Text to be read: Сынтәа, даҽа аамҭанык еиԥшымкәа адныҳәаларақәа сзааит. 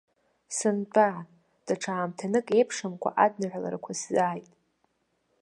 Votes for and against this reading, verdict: 1, 2, rejected